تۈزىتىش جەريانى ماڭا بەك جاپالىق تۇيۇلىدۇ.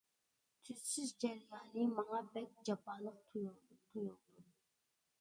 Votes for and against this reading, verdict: 0, 2, rejected